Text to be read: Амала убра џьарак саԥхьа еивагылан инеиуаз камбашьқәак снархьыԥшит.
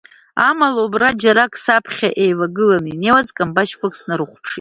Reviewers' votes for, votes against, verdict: 1, 2, rejected